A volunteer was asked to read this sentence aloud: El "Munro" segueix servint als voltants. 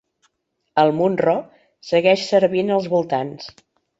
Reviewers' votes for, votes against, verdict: 3, 0, accepted